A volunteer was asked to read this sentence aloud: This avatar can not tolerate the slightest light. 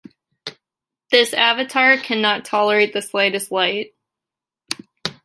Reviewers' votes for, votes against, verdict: 0, 2, rejected